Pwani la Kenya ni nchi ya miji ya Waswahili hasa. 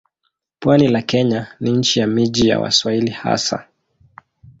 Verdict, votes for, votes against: accepted, 2, 1